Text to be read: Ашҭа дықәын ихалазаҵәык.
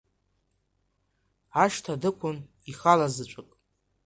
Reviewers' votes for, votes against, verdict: 3, 0, accepted